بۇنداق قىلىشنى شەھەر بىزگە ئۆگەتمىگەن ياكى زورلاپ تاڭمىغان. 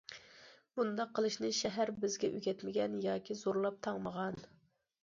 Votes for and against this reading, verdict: 2, 0, accepted